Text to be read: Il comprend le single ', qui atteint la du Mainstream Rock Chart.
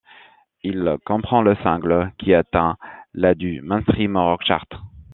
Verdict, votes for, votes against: rejected, 1, 2